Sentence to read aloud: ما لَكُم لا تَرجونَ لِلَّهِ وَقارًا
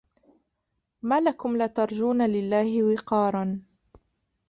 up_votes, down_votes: 0, 2